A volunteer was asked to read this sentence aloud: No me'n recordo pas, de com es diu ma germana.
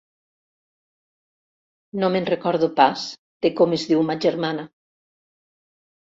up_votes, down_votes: 2, 0